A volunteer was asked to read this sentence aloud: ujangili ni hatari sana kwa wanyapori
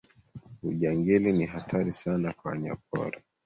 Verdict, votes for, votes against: accepted, 2, 1